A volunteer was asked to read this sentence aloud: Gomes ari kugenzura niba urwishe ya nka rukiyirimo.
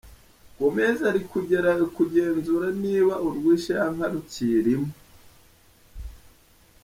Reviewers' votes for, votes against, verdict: 0, 2, rejected